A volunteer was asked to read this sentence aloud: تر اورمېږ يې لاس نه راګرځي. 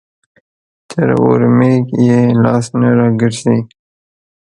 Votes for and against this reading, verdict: 2, 0, accepted